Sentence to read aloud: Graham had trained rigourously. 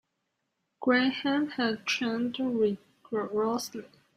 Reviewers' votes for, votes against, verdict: 1, 2, rejected